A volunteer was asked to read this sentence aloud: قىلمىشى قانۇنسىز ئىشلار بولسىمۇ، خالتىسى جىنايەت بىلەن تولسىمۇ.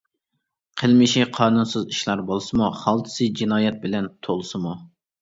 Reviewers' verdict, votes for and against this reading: accepted, 2, 0